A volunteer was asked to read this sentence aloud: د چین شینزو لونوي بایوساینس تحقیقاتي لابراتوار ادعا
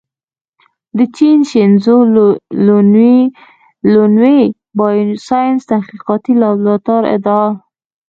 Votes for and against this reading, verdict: 1, 2, rejected